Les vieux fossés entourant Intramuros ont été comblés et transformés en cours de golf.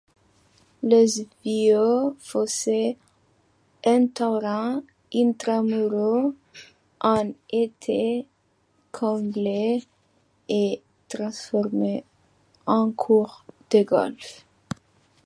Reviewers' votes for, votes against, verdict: 0, 2, rejected